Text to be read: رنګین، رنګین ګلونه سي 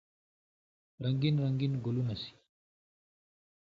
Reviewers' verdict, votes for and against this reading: rejected, 0, 2